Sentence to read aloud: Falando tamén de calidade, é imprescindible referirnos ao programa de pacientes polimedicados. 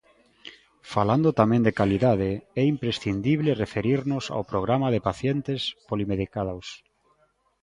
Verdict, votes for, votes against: rejected, 0, 2